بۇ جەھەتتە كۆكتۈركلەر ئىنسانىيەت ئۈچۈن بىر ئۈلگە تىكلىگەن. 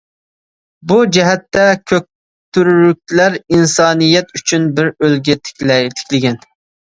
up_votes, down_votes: 0, 2